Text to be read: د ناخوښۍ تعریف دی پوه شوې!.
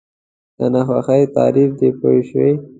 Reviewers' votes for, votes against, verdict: 2, 0, accepted